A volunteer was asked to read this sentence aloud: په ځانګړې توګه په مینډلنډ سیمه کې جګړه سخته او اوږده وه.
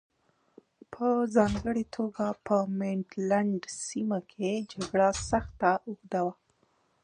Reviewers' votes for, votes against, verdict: 0, 2, rejected